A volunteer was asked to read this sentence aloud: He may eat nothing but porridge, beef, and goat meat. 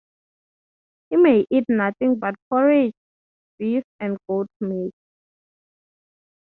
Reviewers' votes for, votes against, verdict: 3, 0, accepted